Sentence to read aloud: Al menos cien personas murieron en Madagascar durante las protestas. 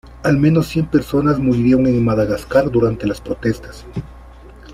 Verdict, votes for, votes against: rejected, 0, 2